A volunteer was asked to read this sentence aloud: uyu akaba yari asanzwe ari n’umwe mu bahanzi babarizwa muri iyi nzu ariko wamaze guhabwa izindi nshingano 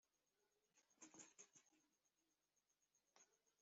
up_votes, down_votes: 0, 2